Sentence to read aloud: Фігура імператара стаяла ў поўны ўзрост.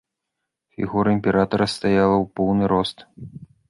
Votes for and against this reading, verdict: 2, 3, rejected